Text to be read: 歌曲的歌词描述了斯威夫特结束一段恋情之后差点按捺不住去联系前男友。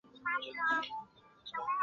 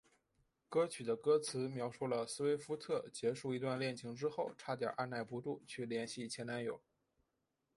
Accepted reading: second